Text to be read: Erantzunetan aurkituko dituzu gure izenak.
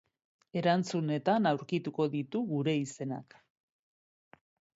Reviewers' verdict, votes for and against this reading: rejected, 0, 2